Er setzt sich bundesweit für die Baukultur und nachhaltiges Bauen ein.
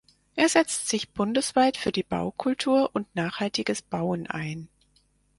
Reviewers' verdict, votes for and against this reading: accepted, 4, 0